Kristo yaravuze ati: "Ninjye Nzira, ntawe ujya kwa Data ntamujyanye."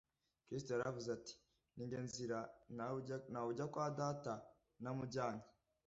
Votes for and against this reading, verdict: 0, 2, rejected